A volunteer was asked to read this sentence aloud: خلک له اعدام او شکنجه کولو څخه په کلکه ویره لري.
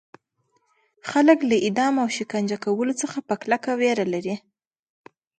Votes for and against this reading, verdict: 1, 2, rejected